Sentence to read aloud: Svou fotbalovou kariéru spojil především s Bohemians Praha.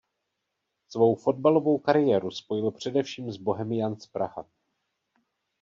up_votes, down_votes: 0, 2